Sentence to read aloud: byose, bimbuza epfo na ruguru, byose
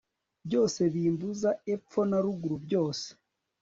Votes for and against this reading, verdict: 1, 2, rejected